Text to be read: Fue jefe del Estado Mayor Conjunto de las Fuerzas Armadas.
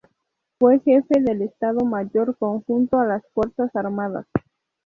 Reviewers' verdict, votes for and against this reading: rejected, 0, 4